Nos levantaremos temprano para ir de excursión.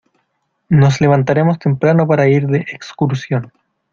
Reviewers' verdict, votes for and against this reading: accepted, 2, 0